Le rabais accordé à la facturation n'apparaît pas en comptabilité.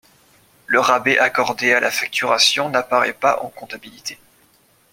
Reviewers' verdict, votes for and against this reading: accepted, 2, 0